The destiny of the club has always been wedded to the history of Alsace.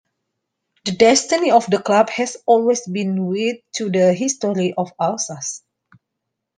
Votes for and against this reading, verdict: 1, 2, rejected